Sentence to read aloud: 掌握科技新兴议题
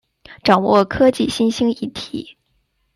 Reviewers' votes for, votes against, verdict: 2, 0, accepted